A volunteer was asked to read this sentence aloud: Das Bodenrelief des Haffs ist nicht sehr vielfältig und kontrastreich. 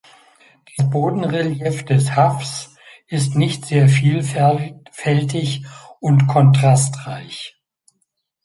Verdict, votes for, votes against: rejected, 0, 2